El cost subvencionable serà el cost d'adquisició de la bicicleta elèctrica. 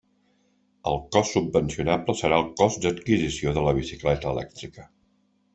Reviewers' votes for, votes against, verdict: 3, 0, accepted